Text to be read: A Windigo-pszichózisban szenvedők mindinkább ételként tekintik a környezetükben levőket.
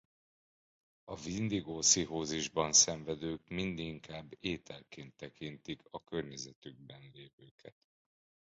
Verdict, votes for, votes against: accepted, 2, 1